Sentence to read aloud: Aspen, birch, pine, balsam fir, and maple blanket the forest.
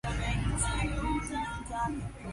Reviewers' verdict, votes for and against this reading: rejected, 0, 2